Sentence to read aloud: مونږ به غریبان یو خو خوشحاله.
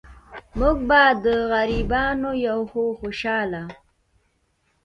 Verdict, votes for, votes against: rejected, 0, 2